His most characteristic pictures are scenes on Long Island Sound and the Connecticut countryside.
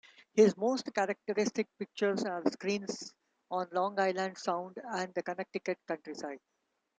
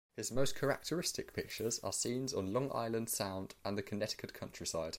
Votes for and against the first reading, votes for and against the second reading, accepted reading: 1, 3, 2, 0, second